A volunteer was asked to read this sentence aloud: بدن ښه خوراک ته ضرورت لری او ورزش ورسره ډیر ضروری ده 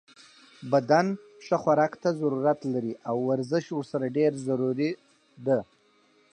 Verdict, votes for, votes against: accepted, 4, 0